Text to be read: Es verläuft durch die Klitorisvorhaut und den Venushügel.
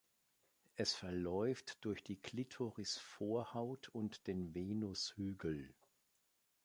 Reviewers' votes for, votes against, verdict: 2, 0, accepted